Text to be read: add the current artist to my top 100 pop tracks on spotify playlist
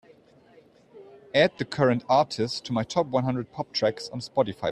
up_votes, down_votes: 0, 2